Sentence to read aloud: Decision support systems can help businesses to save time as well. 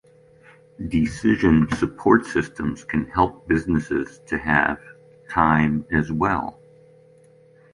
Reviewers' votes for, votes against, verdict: 0, 2, rejected